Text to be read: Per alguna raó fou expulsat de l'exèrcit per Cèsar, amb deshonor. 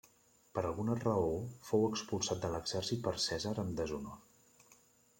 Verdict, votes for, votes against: accepted, 2, 1